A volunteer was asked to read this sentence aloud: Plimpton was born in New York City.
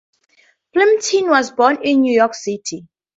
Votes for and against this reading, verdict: 2, 0, accepted